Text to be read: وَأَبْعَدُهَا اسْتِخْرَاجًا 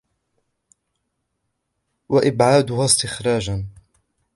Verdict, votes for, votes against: accepted, 2, 1